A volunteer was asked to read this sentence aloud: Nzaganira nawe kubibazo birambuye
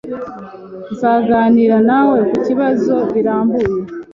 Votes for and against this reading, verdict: 1, 2, rejected